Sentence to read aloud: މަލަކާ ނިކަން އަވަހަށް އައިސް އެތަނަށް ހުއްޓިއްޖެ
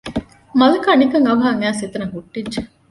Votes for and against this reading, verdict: 2, 0, accepted